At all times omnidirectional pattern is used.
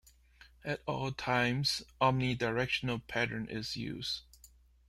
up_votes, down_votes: 1, 2